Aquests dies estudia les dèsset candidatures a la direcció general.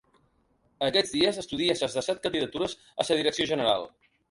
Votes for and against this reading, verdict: 0, 3, rejected